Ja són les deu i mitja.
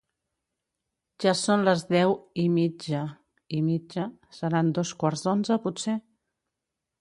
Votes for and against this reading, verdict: 0, 3, rejected